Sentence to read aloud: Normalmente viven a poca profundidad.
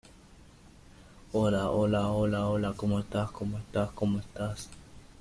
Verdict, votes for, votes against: rejected, 0, 2